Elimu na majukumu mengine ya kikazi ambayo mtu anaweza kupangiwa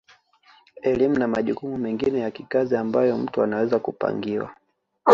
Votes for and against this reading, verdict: 0, 2, rejected